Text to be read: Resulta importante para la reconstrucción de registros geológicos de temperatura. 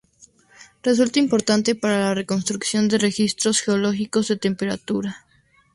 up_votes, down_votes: 2, 0